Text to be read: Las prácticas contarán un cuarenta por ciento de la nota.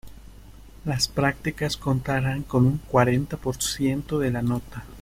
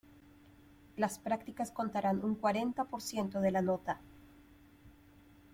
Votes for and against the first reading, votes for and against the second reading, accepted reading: 1, 2, 2, 0, second